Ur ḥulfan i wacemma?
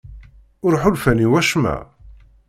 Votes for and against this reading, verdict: 2, 0, accepted